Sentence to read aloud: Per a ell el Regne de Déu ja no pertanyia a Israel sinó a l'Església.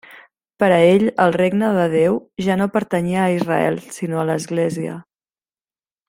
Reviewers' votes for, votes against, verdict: 3, 0, accepted